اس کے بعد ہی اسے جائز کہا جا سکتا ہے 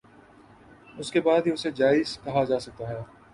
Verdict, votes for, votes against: accepted, 2, 0